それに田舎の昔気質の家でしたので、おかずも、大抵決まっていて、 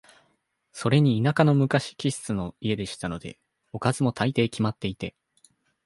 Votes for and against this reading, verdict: 2, 0, accepted